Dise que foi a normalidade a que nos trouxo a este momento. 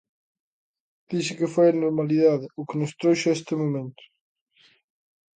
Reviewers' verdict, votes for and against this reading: rejected, 0, 2